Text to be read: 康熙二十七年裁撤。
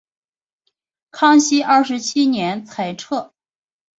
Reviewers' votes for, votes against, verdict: 4, 0, accepted